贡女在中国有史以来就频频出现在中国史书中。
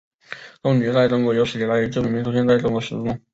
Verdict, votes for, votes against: rejected, 0, 2